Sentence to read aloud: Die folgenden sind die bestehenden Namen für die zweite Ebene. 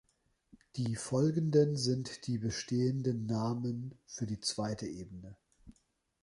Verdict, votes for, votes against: accepted, 2, 0